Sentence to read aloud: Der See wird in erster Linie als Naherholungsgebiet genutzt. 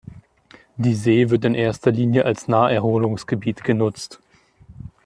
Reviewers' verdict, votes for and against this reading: rejected, 0, 2